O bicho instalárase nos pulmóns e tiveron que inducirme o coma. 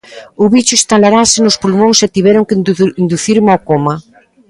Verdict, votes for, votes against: rejected, 0, 2